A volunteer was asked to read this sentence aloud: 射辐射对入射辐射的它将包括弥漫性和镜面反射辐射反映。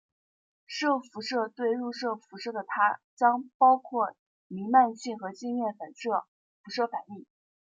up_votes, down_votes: 2, 0